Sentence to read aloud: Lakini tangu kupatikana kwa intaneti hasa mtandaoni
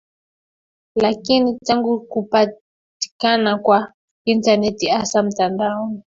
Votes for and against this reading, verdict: 2, 3, rejected